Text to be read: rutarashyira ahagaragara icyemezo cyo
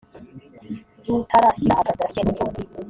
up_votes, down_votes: 1, 2